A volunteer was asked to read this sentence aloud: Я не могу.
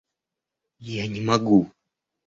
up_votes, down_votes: 2, 0